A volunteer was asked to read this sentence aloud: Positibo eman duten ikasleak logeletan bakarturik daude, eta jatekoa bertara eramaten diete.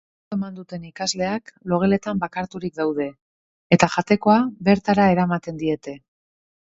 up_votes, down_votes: 0, 3